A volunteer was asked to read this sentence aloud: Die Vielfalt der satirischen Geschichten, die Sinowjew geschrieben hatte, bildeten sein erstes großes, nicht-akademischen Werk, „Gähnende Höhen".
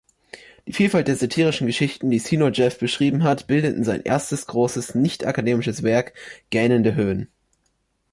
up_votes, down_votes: 1, 2